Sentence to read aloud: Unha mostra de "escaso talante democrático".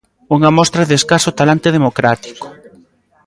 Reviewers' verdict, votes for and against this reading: accepted, 2, 1